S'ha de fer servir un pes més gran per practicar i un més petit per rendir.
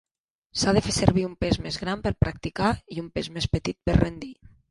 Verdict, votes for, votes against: rejected, 1, 2